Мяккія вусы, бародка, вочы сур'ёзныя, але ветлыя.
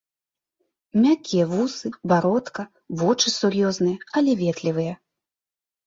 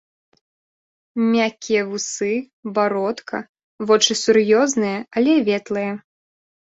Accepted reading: second